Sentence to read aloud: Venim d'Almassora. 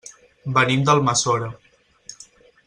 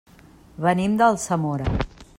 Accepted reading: first